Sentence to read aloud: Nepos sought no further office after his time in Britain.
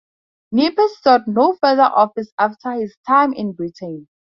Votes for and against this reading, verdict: 2, 0, accepted